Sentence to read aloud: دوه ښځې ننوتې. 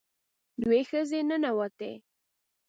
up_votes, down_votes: 2, 0